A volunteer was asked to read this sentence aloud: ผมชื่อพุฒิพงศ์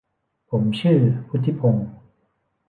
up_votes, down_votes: 2, 0